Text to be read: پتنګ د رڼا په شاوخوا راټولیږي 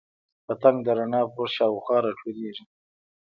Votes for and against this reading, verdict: 1, 2, rejected